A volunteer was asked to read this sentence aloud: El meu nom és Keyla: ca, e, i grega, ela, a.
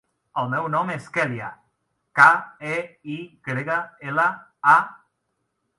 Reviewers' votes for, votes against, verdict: 0, 2, rejected